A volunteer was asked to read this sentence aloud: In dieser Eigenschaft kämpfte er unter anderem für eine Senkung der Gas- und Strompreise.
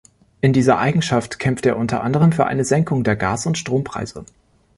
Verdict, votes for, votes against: accepted, 2, 0